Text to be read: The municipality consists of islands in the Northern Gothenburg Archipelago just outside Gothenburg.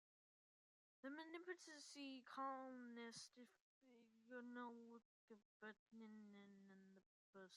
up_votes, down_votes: 0, 2